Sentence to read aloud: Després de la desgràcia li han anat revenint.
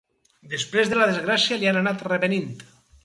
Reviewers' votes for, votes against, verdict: 4, 0, accepted